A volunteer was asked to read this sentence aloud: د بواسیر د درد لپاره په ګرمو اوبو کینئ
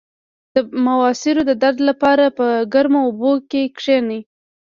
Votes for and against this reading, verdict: 1, 2, rejected